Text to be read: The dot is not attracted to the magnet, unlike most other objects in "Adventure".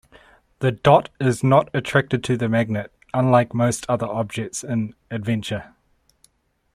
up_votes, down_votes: 2, 0